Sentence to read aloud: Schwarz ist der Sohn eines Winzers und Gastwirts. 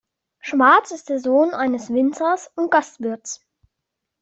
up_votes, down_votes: 2, 0